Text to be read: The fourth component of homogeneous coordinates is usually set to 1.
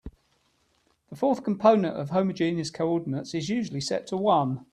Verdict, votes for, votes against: rejected, 0, 2